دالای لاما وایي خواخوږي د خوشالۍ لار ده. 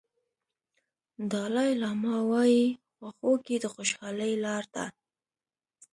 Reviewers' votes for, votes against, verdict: 2, 0, accepted